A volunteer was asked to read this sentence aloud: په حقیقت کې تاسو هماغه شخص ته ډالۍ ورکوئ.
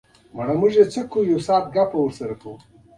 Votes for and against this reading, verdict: 0, 2, rejected